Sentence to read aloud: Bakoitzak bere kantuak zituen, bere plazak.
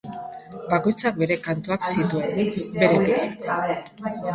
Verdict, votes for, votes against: rejected, 0, 2